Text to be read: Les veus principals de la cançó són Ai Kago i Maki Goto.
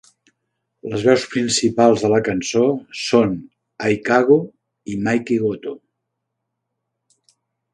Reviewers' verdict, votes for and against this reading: rejected, 1, 2